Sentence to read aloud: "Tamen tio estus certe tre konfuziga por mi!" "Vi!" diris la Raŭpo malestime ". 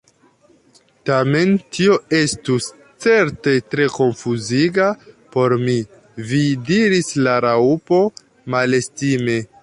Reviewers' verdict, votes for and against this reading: rejected, 0, 2